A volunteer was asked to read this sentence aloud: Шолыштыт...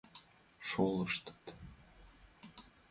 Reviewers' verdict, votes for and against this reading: accepted, 2, 0